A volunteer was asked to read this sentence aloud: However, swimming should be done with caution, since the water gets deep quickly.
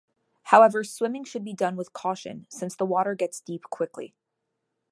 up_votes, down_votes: 2, 0